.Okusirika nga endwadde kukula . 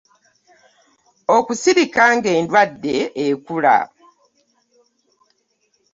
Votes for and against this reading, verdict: 1, 2, rejected